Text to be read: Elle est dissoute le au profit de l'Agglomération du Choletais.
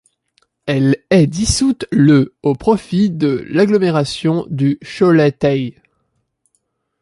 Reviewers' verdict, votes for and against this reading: rejected, 1, 2